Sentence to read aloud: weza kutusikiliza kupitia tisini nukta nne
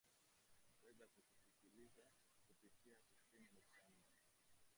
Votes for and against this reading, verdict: 0, 2, rejected